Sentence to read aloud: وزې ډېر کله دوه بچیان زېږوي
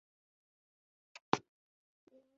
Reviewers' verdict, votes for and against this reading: rejected, 1, 2